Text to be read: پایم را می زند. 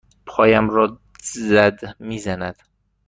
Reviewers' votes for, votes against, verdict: 1, 2, rejected